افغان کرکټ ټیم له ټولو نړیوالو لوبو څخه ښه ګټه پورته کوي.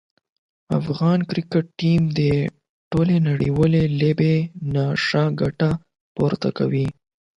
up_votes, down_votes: 0, 12